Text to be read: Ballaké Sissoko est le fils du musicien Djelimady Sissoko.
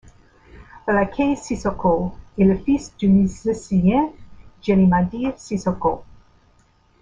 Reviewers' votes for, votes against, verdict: 1, 2, rejected